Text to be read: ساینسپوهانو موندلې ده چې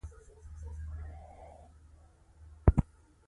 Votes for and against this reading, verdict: 1, 2, rejected